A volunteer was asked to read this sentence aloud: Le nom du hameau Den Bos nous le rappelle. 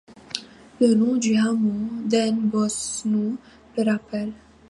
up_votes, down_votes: 2, 0